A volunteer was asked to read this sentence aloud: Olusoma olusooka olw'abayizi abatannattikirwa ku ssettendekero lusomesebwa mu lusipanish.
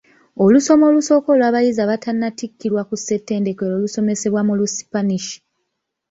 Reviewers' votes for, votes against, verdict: 0, 2, rejected